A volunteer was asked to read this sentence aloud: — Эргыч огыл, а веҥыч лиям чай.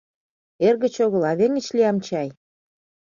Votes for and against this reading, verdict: 2, 0, accepted